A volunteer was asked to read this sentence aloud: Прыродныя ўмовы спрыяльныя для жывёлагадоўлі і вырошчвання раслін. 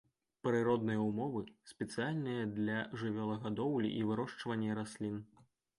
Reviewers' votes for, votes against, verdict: 0, 2, rejected